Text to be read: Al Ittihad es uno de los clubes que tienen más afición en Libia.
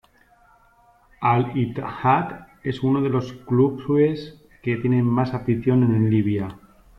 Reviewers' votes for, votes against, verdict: 0, 2, rejected